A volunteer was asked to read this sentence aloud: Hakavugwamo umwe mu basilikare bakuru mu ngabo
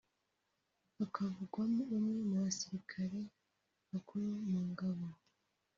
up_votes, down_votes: 0, 2